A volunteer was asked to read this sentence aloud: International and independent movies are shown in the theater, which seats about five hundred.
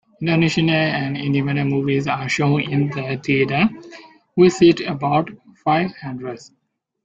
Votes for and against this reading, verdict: 0, 2, rejected